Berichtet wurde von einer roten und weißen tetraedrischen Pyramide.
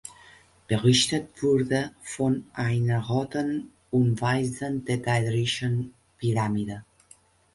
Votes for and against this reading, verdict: 1, 2, rejected